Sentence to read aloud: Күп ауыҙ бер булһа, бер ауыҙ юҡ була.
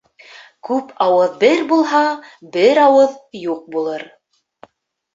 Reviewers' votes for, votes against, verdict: 2, 4, rejected